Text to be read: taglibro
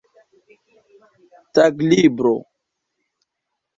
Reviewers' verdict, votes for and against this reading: accepted, 2, 0